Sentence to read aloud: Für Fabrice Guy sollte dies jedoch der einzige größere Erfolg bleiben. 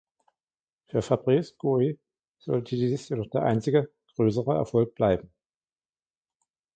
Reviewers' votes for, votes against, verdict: 2, 0, accepted